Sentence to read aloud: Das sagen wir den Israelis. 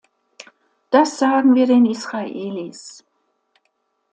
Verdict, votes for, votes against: accepted, 2, 0